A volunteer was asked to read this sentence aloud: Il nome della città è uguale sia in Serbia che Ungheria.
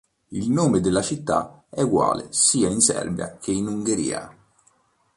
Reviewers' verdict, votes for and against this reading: accepted, 2, 1